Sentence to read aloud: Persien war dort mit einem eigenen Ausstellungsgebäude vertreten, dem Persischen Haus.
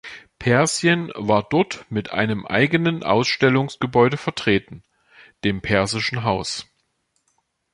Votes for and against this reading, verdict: 2, 0, accepted